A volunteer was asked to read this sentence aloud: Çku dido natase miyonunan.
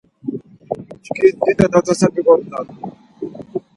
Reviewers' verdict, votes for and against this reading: accepted, 4, 2